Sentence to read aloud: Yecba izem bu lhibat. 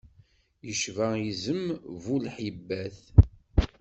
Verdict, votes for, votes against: rejected, 1, 2